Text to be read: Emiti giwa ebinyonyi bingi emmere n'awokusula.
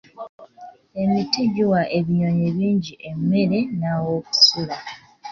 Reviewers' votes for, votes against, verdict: 1, 2, rejected